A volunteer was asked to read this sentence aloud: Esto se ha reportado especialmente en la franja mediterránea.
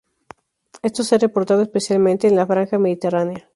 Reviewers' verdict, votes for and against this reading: accepted, 4, 0